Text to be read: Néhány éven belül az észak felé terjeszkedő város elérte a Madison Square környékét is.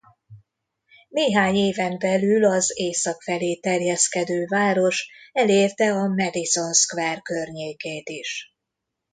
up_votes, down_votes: 2, 0